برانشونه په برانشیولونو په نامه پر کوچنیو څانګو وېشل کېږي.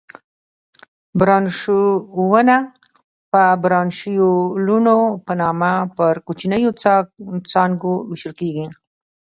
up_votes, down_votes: 2, 0